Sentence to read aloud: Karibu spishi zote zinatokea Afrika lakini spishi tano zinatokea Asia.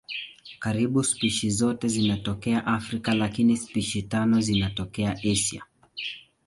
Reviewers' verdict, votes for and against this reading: accepted, 3, 1